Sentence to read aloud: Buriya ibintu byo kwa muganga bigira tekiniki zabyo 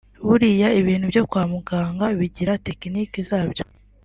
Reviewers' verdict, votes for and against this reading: accepted, 2, 0